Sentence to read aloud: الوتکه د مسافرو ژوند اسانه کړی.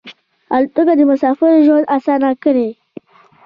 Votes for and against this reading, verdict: 2, 1, accepted